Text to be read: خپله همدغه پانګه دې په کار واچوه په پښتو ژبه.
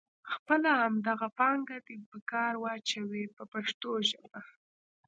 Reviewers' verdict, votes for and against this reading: rejected, 1, 2